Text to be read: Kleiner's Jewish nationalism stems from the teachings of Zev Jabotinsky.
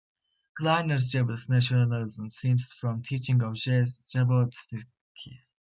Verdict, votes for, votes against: rejected, 0, 2